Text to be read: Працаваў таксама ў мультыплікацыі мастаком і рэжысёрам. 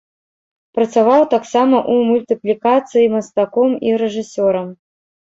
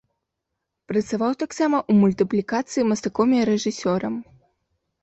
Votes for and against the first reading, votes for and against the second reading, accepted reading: 0, 2, 2, 0, second